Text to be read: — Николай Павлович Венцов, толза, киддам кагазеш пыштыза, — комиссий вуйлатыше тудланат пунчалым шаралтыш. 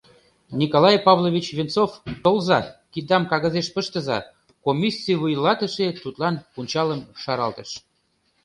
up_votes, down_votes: 0, 2